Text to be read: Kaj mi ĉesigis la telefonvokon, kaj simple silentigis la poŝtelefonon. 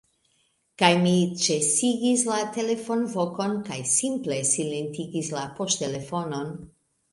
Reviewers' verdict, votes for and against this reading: accepted, 2, 0